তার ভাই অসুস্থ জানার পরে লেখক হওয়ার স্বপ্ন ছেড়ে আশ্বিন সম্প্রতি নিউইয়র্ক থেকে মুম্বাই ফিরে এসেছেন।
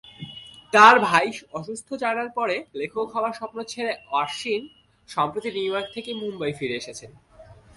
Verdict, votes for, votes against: accepted, 2, 1